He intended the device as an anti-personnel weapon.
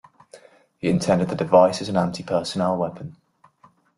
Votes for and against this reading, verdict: 2, 0, accepted